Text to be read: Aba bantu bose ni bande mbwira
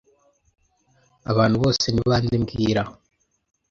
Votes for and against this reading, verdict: 1, 2, rejected